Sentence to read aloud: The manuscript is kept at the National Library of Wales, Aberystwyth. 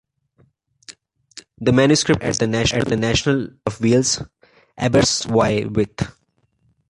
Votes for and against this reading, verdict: 1, 2, rejected